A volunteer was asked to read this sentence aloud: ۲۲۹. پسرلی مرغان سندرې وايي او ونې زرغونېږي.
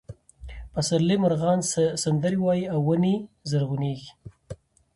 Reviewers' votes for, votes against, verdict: 0, 2, rejected